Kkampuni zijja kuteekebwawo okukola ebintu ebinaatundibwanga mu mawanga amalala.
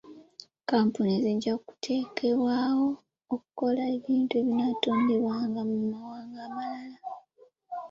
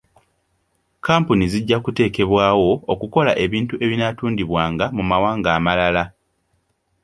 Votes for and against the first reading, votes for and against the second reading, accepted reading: 1, 2, 2, 0, second